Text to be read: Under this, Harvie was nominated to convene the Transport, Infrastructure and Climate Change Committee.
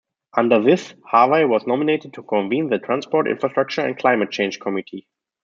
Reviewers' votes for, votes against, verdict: 2, 0, accepted